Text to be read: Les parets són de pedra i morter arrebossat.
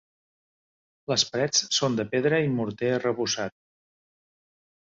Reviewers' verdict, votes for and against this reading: accepted, 2, 0